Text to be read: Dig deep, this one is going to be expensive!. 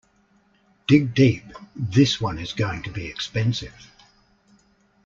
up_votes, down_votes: 2, 0